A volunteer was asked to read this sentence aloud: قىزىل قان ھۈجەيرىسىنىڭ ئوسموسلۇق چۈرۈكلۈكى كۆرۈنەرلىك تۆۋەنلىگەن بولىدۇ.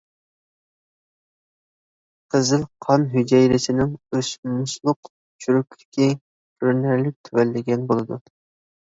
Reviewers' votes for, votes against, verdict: 0, 2, rejected